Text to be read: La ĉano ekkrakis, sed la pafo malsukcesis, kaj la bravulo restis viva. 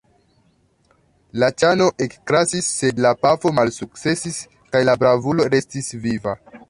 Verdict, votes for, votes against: rejected, 0, 2